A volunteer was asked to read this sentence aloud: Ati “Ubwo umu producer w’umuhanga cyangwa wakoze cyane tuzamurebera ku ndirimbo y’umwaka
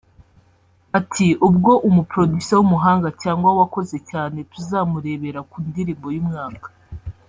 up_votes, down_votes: 3, 0